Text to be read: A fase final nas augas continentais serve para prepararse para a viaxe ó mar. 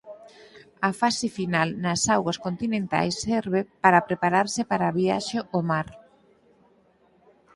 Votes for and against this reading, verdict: 4, 0, accepted